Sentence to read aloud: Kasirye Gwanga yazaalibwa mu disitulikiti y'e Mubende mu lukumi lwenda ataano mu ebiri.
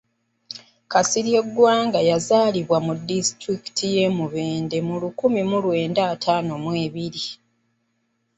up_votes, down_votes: 0, 2